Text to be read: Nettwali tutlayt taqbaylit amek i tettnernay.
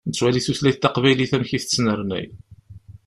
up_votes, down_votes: 2, 0